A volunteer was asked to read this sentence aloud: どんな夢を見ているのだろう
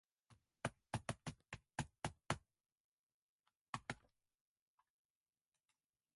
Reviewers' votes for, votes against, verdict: 1, 3, rejected